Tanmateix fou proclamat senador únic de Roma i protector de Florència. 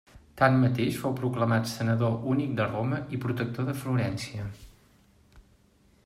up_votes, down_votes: 3, 0